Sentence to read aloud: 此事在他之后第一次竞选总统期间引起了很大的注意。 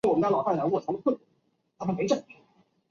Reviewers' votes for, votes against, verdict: 0, 4, rejected